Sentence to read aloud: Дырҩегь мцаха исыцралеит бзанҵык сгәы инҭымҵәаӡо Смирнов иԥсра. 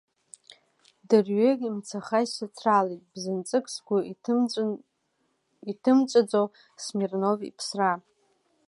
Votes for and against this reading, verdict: 0, 2, rejected